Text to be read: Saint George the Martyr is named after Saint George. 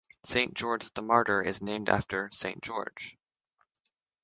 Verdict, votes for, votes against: accepted, 3, 0